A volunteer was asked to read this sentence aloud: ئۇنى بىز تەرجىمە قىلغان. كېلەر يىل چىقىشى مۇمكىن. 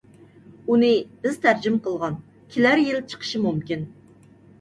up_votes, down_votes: 2, 0